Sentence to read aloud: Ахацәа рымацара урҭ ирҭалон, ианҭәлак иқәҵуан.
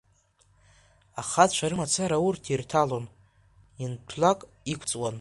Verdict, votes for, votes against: accepted, 2, 1